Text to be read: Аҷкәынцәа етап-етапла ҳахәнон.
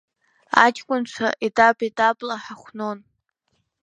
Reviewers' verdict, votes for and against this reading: accepted, 2, 0